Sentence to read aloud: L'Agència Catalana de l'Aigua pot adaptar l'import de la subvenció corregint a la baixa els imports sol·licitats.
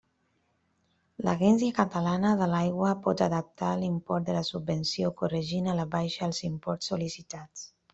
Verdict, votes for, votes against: rejected, 0, 2